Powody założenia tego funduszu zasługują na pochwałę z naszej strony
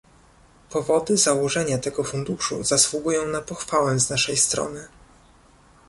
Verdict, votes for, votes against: accepted, 2, 0